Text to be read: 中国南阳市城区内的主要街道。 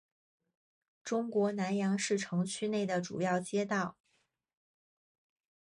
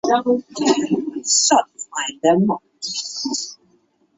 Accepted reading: first